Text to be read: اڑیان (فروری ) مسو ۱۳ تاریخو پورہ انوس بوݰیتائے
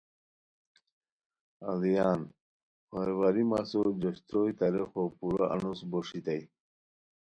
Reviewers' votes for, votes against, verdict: 0, 2, rejected